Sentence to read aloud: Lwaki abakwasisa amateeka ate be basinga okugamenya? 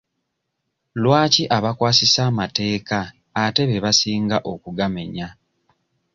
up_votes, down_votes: 2, 0